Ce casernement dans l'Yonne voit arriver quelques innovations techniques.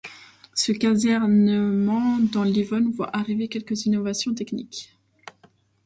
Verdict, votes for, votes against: accepted, 2, 1